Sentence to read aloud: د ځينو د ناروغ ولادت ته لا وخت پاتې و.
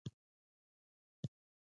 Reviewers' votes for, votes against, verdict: 0, 2, rejected